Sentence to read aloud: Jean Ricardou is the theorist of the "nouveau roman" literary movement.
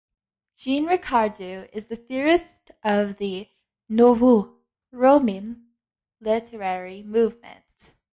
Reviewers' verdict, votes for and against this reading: rejected, 1, 2